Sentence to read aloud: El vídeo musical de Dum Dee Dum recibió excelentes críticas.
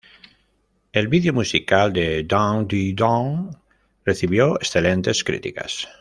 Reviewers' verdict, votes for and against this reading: accepted, 2, 0